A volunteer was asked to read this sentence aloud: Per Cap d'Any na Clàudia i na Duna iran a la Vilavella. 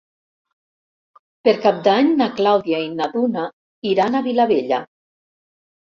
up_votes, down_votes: 0, 2